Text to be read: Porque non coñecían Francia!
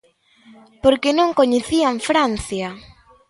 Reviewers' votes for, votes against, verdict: 2, 0, accepted